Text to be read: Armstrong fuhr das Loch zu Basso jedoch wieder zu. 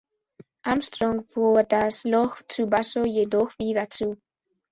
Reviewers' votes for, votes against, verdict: 2, 0, accepted